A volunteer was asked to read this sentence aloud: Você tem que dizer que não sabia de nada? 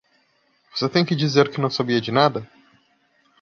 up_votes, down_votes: 2, 0